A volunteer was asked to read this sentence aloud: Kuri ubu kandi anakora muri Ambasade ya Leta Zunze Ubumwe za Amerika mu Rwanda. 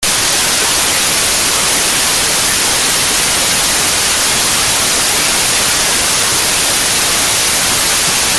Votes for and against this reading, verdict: 0, 3, rejected